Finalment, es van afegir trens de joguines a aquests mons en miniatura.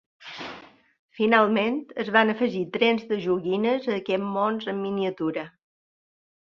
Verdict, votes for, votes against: accepted, 3, 1